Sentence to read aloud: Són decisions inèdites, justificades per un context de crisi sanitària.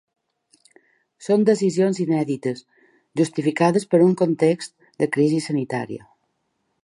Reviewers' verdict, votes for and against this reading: accepted, 4, 0